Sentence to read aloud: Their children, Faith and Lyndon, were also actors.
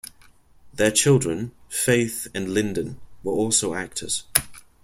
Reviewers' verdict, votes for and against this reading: accepted, 2, 0